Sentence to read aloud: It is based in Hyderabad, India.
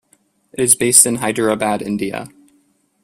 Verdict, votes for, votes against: accepted, 2, 0